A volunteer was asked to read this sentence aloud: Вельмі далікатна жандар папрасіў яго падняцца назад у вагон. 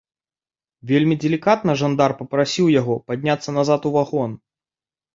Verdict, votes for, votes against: rejected, 0, 2